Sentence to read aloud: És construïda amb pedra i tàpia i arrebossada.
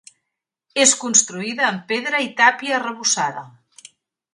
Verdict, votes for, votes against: rejected, 0, 2